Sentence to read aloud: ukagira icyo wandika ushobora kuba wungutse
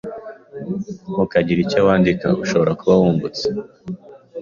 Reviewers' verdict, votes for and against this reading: accepted, 2, 0